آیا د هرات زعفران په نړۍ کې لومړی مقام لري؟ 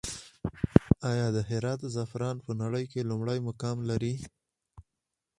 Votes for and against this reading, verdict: 2, 2, rejected